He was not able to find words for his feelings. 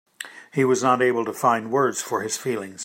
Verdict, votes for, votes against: accepted, 2, 0